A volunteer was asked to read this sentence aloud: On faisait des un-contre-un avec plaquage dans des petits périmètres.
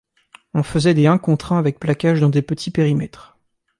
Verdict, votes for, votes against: rejected, 0, 2